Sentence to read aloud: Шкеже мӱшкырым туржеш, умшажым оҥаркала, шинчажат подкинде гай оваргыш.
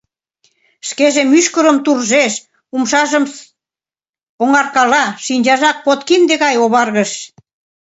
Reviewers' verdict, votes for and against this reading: accepted, 2, 0